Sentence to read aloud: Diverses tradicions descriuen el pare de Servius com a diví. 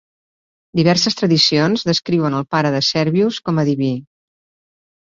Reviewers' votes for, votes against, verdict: 4, 0, accepted